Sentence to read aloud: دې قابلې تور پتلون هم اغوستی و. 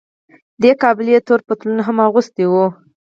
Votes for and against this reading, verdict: 0, 4, rejected